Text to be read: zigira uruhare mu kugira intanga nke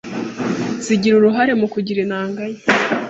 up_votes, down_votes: 2, 0